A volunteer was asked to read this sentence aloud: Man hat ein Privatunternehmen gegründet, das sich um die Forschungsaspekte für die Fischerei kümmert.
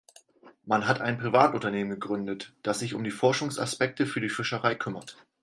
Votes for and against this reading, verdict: 4, 0, accepted